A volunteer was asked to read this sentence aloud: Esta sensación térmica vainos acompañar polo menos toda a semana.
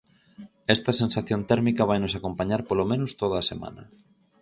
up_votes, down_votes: 4, 0